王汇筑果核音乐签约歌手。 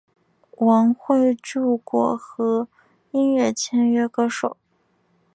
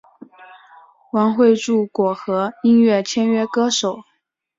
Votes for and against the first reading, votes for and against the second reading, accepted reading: 0, 2, 5, 0, second